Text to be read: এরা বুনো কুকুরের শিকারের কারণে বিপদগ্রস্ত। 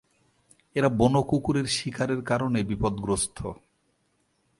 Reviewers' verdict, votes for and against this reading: accepted, 2, 0